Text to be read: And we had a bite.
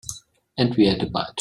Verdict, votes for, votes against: rejected, 0, 2